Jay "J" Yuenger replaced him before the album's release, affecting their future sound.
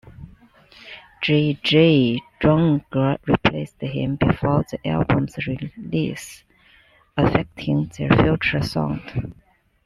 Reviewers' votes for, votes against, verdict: 1, 2, rejected